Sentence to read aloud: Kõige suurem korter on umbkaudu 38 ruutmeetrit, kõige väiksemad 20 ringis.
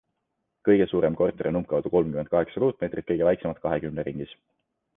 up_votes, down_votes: 0, 2